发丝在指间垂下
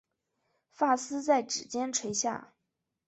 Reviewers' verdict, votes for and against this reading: accepted, 3, 2